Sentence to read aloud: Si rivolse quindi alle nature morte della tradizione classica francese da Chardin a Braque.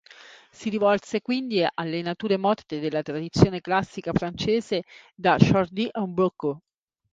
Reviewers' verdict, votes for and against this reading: rejected, 1, 2